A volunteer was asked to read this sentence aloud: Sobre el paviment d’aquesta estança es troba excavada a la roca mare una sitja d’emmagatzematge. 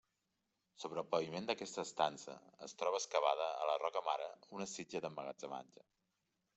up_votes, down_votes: 2, 0